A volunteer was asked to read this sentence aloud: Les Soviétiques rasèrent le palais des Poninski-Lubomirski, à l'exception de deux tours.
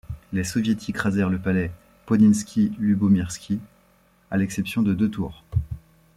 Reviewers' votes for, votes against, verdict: 1, 2, rejected